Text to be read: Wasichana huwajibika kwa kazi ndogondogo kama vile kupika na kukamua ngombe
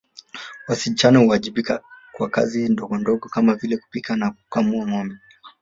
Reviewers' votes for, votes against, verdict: 3, 0, accepted